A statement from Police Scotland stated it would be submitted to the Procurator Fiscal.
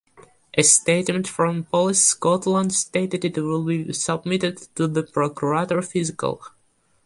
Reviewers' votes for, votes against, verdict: 2, 0, accepted